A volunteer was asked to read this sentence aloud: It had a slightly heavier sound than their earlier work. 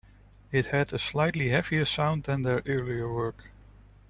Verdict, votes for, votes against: accepted, 2, 0